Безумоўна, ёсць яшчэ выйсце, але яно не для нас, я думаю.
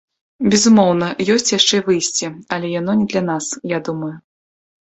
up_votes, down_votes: 2, 0